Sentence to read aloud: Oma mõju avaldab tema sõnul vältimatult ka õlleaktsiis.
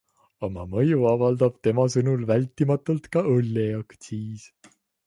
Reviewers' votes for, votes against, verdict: 2, 0, accepted